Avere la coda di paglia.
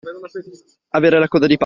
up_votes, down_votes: 0, 2